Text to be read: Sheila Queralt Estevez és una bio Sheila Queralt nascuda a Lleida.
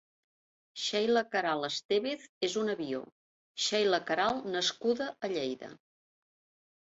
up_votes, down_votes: 2, 0